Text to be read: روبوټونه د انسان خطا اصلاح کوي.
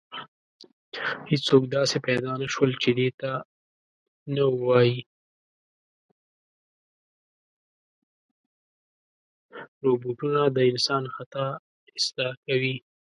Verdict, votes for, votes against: rejected, 0, 2